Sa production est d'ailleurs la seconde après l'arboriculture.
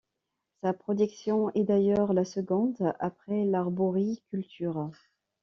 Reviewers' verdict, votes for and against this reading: accepted, 2, 0